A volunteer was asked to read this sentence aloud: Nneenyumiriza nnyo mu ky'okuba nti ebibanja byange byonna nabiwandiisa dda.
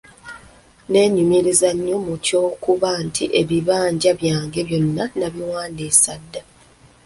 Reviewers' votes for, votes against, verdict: 0, 2, rejected